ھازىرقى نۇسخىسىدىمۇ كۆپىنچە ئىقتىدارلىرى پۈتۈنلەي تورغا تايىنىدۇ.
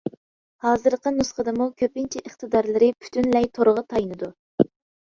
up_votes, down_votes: 2, 0